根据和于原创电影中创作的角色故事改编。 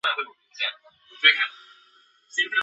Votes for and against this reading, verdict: 0, 2, rejected